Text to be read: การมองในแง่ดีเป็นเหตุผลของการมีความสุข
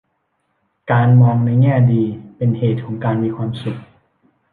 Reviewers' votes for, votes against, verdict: 1, 2, rejected